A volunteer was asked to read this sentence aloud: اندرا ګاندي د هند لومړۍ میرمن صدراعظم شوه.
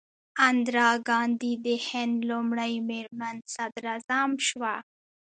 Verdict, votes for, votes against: rejected, 1, 2